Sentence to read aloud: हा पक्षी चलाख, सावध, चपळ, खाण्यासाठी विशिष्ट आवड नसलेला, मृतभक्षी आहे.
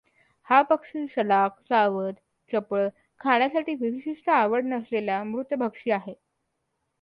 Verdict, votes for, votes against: accepted, 2, 0